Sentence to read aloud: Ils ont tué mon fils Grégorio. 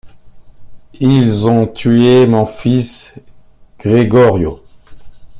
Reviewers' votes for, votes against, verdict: 2, 0, accepted